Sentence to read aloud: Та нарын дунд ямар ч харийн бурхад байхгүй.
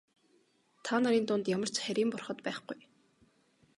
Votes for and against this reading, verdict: 3, 0, accepted